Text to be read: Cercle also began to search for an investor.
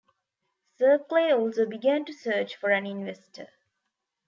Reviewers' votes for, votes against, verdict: 1, 2, rejected